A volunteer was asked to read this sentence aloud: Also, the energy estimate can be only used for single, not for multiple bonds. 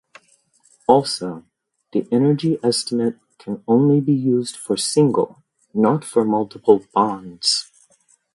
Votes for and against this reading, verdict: 2, 0, accepted